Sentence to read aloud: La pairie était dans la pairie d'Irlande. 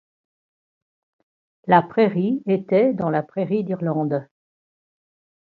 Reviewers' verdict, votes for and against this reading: rejected, 1, 2